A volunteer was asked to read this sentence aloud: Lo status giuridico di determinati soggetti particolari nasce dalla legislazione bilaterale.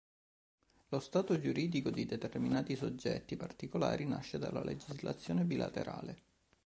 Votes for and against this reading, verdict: 1, 2, rejected